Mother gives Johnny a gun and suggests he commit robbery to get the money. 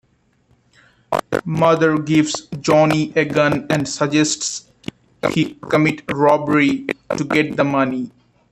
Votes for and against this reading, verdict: 0, 2, rejected